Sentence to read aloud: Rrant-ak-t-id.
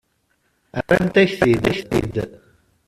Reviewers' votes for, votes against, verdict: 0, 2, rejected